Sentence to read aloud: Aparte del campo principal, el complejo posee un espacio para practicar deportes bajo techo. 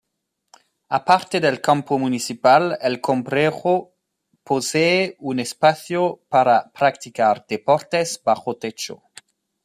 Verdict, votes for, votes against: rejected, 0, 2